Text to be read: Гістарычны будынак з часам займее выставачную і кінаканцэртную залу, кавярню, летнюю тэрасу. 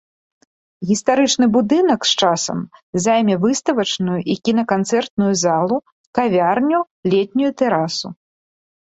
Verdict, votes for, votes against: rejected, 2, 3